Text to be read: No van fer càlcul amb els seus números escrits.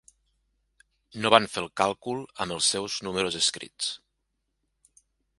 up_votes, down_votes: 1, 2